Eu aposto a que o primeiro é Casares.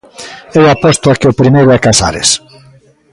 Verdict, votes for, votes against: rejected, 0, 2